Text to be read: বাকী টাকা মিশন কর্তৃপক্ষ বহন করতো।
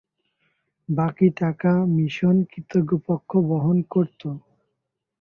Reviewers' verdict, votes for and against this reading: rejected, 0, 2